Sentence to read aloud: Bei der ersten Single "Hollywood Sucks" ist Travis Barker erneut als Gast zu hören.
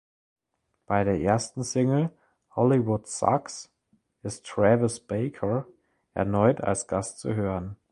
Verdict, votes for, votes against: rejected, 0, 2